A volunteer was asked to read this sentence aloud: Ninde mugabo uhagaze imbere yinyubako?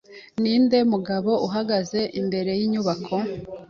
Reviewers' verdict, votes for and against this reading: accepted, 2, 1